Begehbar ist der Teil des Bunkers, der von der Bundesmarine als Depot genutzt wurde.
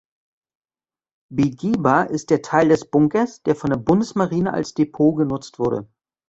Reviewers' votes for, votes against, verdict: 2, 0, accepted